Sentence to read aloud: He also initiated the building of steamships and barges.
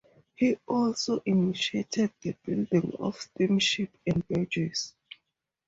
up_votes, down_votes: 0, 2